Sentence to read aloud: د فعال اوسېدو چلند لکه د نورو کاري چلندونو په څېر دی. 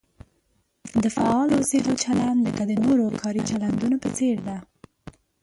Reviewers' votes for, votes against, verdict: 1, 2, rejected